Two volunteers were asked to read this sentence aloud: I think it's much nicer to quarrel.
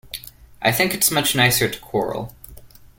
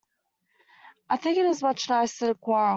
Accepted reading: first